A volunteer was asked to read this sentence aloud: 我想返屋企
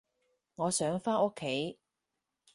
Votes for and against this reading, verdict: 0, 4, rejected